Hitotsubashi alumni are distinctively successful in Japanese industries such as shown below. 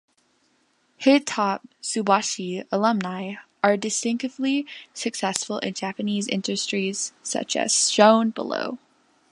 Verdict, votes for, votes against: rejected, 1, 2